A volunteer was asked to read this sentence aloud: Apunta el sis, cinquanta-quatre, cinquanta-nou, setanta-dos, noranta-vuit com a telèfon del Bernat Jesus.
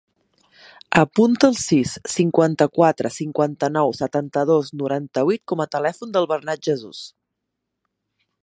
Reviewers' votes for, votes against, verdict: 1, 2, rejected